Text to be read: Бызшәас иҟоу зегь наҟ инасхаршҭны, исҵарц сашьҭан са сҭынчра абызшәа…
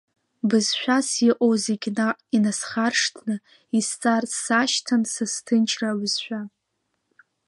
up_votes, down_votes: 2, 0